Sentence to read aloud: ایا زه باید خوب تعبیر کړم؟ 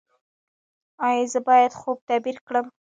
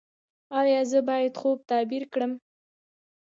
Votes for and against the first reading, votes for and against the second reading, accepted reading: 1, 2, 2, 1, second